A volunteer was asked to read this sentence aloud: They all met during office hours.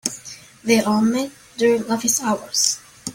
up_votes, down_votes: 1, 2